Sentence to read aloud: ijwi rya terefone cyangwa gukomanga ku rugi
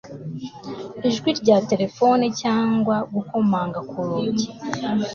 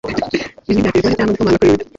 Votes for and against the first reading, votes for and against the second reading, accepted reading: 2, 0, 1, 2, first